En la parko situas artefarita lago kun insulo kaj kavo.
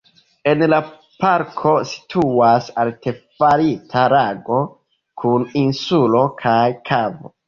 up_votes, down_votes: 2, 1